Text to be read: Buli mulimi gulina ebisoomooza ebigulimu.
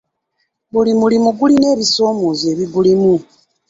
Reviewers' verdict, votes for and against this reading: accepted, 2, 0